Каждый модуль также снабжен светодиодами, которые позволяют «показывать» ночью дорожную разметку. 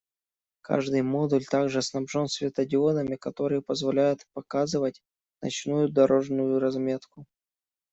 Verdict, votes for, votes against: rejected, 0, 2